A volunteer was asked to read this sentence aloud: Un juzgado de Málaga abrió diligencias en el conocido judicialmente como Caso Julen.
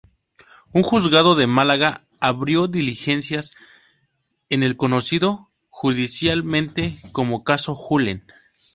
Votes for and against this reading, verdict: 2, 2, rejected